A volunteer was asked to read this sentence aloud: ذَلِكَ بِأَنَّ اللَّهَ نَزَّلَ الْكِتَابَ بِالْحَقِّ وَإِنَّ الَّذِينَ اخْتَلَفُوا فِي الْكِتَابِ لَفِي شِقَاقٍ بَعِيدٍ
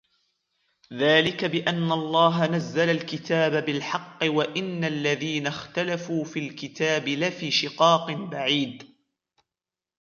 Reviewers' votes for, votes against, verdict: 2, 0, accepted